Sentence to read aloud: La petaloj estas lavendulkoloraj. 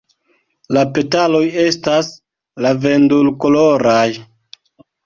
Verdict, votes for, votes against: rejected, 1, 2